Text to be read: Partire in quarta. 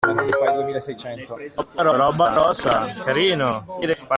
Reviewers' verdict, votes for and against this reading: rejected, 0, 2